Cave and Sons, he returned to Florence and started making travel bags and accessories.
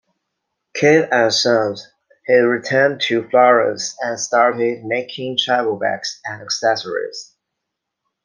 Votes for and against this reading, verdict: 2, 1, accepted